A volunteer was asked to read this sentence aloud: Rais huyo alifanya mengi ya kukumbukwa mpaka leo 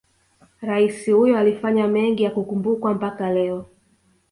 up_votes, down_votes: 2, 0